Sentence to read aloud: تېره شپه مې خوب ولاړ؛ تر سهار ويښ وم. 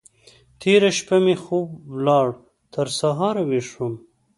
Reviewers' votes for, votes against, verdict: 2, 0, accepted